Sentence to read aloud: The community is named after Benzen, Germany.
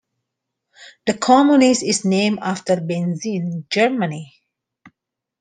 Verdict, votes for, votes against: rejected, 0, 2